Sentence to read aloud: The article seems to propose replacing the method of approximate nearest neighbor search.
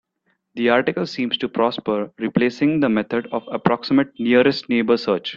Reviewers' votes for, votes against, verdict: 0, 2, rejected